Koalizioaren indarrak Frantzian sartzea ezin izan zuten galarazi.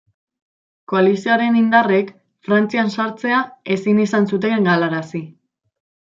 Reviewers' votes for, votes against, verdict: 0, 2, rejected